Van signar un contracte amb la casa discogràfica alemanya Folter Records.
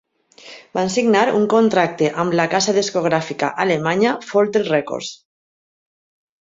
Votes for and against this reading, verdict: 2, 0, accepted